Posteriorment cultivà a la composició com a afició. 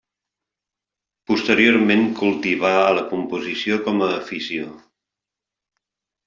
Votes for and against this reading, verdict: 2, 0, accepted